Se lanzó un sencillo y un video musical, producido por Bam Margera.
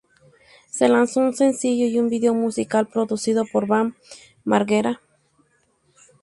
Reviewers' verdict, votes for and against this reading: accepted, 2, 0